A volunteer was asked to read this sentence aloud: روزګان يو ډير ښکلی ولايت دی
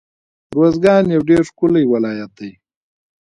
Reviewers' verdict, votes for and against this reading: accepted, 2, 0